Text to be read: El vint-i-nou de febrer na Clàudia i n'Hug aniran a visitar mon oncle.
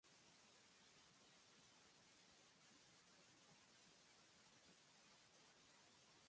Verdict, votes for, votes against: rejected, 0, 2